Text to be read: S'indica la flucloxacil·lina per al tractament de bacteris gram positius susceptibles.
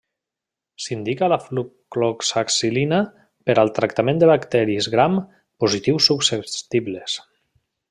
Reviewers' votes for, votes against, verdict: 1, 2, rejected